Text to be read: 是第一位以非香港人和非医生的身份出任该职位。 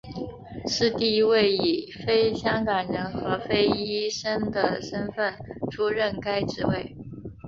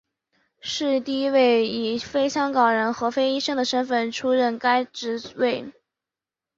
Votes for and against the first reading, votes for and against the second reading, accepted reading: 0, 2, 3, 1, second